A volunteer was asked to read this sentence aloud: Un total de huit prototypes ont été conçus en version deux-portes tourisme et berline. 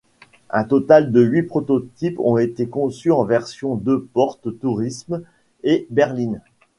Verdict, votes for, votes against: accepted, 3, 0